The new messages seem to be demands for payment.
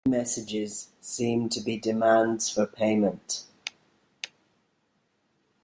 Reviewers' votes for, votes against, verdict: 1, 2, rejected